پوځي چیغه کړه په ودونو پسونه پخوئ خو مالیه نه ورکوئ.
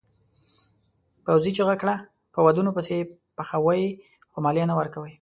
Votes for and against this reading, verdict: 1, 2, rejected